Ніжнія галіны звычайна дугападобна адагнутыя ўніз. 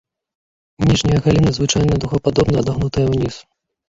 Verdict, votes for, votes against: rejected, 0, 2